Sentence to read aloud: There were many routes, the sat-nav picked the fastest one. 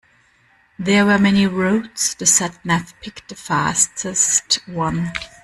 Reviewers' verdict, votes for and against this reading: accepted, 2, 1